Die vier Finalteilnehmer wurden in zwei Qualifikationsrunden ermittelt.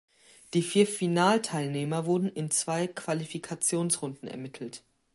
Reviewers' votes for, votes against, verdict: 2, 0, accepted